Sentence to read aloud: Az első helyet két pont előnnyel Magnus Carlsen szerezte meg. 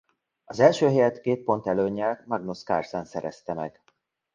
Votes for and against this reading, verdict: 2, 0, accepted